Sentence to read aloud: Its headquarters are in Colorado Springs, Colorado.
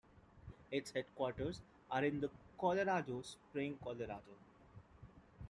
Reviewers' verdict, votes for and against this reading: rejected, 1, 2